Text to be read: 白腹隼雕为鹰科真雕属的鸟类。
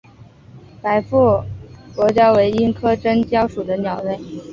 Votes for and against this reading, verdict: 2, 0, accepted